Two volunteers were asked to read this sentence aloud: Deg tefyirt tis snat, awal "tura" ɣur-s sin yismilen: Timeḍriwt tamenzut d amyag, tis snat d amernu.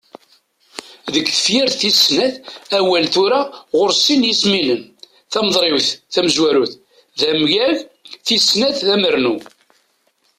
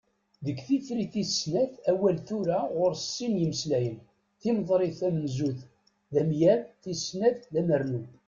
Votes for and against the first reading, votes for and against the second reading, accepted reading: 2, 0, 1, 2, first